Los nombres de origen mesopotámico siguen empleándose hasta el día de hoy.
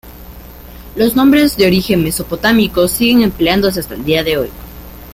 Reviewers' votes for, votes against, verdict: 2, 1, accepted